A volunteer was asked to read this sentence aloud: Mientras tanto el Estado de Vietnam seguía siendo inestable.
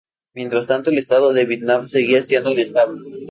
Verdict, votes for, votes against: accepted, 2, 0